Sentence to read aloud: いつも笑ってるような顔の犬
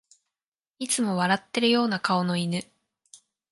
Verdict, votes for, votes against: accepted, 2, 0